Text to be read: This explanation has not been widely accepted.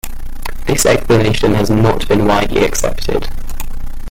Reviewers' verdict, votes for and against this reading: rejected, 0, 2